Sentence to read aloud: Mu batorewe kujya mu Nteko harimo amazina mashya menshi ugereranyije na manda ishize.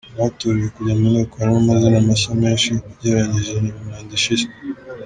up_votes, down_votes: 1, 2